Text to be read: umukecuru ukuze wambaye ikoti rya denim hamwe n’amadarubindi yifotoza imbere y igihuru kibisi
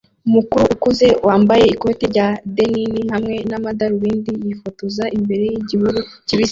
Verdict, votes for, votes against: accepted, 2, 0